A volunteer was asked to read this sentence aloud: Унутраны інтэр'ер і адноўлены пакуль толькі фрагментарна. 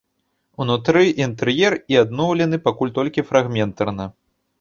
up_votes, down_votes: 0, 2